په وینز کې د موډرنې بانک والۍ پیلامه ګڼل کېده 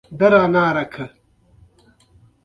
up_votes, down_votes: 1, 2